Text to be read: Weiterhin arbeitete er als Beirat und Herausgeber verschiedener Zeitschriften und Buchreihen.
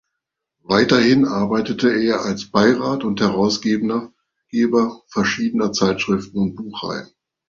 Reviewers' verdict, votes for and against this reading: rejected, 0, 2